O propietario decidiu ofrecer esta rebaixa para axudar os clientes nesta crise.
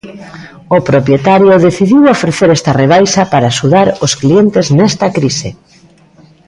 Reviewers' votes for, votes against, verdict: 2, 0, accepted